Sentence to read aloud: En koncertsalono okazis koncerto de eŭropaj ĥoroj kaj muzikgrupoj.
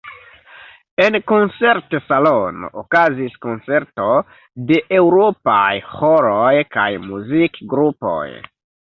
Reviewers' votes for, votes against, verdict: 0, 2, rejected